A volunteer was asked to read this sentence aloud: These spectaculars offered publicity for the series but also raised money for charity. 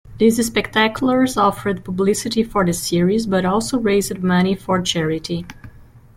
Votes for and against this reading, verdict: 1, 2, rejected